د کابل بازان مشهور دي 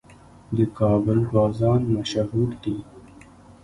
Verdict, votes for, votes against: accepted, 2, 0